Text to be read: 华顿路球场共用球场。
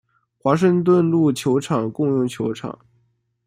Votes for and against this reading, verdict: 0, 2, rejected